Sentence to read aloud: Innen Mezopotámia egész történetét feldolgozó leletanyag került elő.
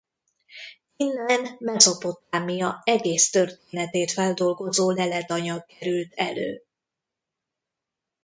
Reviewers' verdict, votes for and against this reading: rejected, 0, 2